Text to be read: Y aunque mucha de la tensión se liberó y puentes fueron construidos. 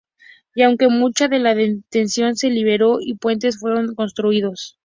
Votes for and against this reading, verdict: 2, 2, rejected